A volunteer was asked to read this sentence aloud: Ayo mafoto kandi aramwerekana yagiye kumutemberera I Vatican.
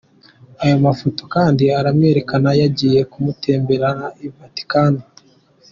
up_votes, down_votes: 2, 1